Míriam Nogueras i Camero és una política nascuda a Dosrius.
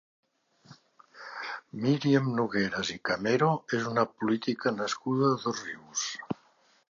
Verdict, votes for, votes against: accepted, 2, 1